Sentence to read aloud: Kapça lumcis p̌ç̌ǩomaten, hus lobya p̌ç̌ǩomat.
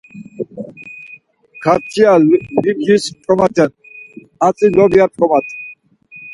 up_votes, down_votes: 0, 4